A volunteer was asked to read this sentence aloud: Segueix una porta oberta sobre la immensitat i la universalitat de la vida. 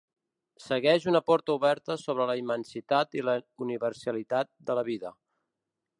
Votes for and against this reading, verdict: 2, 3, rejected